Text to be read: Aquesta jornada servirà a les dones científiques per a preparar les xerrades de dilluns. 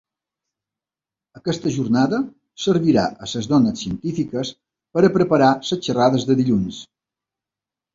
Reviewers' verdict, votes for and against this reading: rejected, 1, 3